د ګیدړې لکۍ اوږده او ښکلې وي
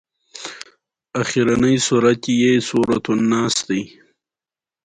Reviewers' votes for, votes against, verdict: 2, 0, accepted